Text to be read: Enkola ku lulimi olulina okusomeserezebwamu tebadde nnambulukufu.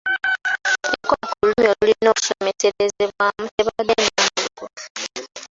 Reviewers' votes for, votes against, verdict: 0, 2, rejected